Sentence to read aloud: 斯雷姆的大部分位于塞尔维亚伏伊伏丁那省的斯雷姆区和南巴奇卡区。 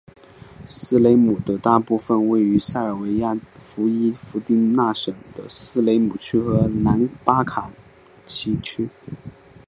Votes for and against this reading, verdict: 3, 1, accepted